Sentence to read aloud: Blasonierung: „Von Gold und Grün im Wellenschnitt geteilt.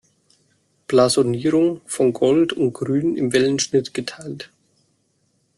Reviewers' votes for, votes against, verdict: 2, 0, accepted